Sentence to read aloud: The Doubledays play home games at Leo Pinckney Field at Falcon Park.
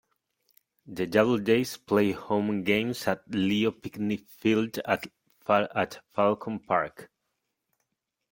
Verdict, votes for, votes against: rejected, 1, 2